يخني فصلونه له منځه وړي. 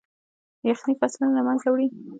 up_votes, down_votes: 1, 2